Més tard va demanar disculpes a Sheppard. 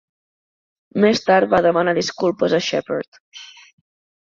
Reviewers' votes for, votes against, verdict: 4, 0, accepted